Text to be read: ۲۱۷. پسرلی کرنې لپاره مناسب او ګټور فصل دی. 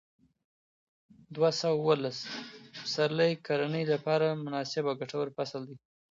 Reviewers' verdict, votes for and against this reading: rejected, 0, 2